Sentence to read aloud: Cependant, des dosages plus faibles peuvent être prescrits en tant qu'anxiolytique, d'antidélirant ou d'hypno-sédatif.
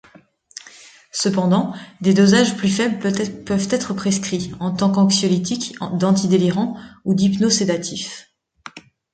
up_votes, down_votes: 0, 2